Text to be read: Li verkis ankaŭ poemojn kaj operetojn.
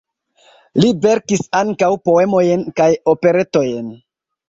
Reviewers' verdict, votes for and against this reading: accepted, 2, 0